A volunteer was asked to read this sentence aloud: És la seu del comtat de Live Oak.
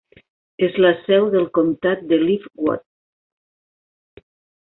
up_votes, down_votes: 2, 1